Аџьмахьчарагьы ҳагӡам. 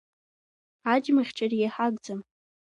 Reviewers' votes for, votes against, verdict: 2, 1, accepted